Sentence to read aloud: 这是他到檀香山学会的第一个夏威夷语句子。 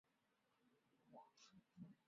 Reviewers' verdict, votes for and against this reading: rejected, 0, 2